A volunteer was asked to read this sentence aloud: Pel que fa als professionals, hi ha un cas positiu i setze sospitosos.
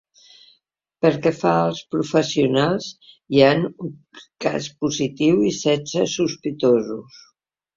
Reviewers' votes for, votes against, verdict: 0, 2, rejected